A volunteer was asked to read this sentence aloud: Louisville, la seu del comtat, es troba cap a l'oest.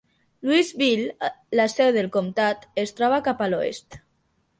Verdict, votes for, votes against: accepted, 3, 0